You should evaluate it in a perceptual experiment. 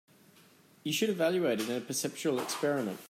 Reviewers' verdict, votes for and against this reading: accepted, 2, 0